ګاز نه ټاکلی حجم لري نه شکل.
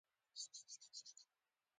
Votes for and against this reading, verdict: 0, 2, rejected